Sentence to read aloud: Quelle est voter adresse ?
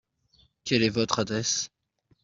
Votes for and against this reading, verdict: 0, 2, rejected